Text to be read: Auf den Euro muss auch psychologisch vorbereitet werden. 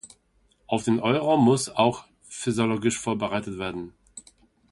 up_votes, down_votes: 0, 3